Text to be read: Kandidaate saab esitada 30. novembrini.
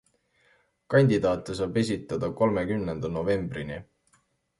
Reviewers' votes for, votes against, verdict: 0, 2, rejected